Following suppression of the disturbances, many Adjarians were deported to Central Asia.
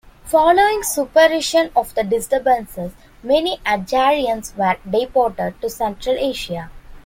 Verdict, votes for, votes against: rejected, 0, 2